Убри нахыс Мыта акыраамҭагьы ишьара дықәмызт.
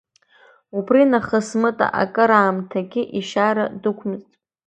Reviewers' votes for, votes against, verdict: 2, 0, accepted